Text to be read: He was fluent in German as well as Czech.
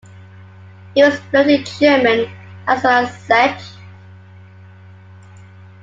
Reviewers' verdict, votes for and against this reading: accepted, 2, 1